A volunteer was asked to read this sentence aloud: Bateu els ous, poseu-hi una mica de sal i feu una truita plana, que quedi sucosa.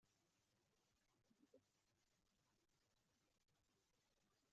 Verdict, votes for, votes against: rejected, 0, 2